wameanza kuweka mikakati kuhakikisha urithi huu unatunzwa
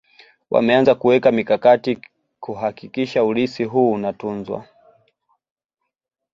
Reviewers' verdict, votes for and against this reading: accepted, 2, 0